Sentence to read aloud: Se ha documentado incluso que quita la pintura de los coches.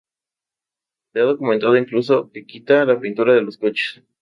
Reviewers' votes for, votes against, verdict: 0, 2, rejected